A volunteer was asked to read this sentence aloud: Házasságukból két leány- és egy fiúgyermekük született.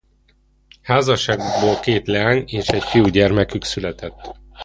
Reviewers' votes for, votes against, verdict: 1, 2, rejected